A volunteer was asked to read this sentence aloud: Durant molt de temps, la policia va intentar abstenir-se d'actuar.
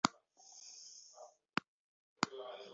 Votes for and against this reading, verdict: 0, 3, rejected